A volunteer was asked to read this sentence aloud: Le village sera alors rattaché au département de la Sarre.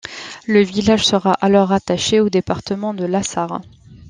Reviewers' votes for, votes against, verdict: 2, 0, accepted